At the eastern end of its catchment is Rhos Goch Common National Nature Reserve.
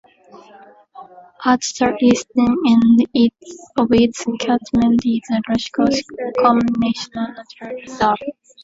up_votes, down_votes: 0, 2